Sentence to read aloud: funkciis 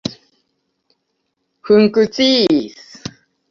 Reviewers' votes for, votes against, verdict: 0, 2, rejected